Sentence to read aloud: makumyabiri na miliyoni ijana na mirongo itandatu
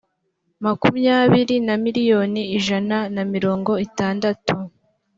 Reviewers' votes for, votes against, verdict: 2, 0, accepted